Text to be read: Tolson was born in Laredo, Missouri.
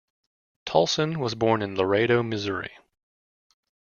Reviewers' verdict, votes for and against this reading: accepted, 2, 0